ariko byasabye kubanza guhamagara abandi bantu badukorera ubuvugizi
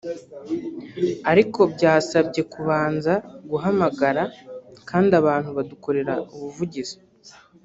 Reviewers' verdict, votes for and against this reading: rejected, 0, 3